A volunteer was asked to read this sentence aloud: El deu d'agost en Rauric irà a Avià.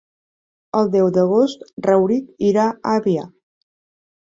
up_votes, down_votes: 0, 2